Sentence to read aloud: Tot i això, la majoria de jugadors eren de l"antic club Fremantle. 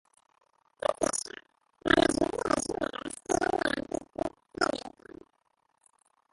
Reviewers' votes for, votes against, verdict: 0, 2, rejected